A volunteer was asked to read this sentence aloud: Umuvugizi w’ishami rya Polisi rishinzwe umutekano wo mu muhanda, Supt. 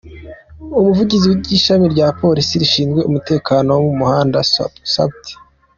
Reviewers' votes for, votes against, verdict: 1, 2, rejected